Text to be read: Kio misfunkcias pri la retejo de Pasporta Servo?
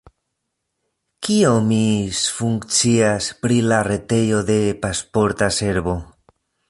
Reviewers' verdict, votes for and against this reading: rejected, 1, 2